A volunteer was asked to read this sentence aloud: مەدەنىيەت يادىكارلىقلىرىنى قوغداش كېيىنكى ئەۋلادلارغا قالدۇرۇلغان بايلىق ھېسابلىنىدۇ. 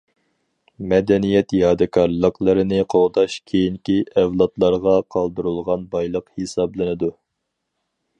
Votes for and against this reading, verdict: 4, 0, accepted